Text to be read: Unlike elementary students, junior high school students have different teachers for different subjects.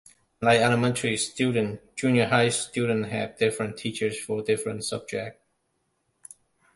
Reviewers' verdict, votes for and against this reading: rejected, 0, 2